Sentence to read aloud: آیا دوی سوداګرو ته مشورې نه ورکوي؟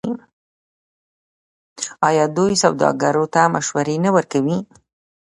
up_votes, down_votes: 2, 0